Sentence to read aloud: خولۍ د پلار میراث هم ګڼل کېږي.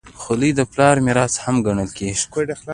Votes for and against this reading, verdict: 2, 1, accepted